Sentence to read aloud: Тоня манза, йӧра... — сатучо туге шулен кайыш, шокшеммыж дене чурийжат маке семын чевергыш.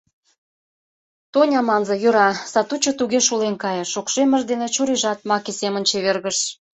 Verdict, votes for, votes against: accepted, 2, 0